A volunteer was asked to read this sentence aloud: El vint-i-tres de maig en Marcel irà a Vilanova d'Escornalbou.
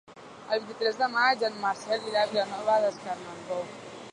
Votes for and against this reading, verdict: 1, 2, rejected